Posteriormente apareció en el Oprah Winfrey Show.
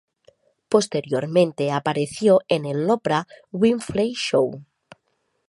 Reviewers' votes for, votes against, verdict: 2, 0, accepted